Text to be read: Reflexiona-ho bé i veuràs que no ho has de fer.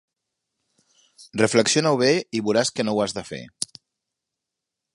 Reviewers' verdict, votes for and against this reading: accepted, 2, 0